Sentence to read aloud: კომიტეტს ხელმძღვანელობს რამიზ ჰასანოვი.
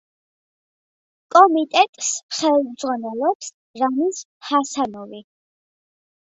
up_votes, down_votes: 2, 0